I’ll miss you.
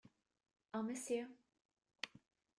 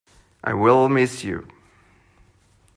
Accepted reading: first